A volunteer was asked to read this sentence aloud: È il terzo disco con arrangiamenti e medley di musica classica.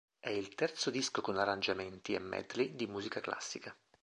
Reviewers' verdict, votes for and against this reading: accepted, 3, 0